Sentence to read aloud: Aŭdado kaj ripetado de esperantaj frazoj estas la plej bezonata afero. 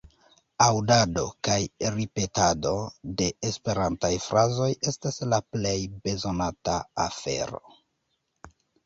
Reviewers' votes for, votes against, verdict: 1, 2, rejected